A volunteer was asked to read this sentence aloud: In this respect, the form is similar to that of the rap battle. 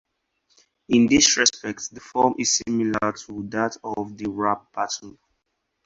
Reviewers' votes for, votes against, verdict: 4, 0, accepted